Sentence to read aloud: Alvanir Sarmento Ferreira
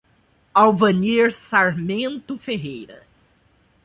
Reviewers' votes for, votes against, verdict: 2, 0, accepted